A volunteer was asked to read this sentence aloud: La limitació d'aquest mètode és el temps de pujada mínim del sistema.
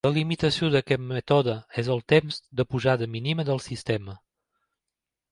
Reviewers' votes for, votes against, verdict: 1, 2, rejected